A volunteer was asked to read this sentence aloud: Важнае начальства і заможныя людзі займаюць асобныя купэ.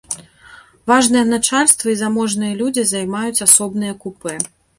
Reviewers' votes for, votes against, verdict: 2, 0, accepted